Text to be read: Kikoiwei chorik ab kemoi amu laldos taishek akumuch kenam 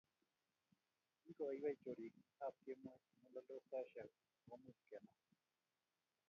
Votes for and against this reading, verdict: 1, 2, rejected